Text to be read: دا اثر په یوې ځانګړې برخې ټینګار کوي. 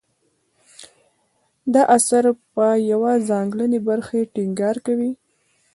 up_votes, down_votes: 2, 0